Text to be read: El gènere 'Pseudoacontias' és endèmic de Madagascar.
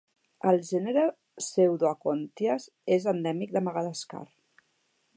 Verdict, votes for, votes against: accepted, 2, 1